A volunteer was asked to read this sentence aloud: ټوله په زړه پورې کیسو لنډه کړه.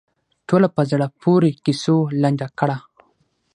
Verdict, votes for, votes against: accepted, 6, 0